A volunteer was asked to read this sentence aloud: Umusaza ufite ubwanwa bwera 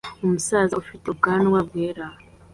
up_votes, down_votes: 2, 0